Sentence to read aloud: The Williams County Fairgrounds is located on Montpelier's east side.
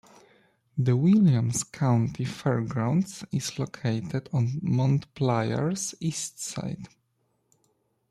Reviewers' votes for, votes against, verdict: 1, 2, rejected